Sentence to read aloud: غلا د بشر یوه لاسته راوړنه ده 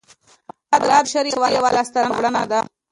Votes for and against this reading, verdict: 0, 2, rejected